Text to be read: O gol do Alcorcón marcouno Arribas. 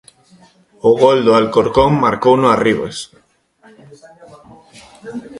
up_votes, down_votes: 2, 0